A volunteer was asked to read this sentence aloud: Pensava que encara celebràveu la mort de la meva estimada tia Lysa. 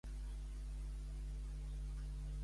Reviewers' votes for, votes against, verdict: 0, 2, rejected